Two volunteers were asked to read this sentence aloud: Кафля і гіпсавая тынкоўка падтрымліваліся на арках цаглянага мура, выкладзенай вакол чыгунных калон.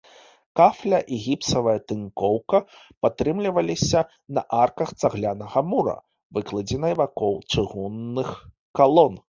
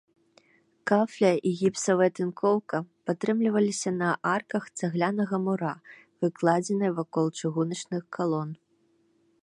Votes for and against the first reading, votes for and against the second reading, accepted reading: 2, 0, 1, 2, first